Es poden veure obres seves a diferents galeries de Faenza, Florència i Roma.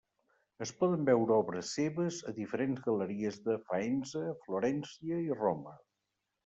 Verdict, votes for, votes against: accepted, 2, 0